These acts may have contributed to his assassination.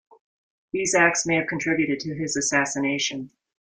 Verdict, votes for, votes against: accepted, 2, 0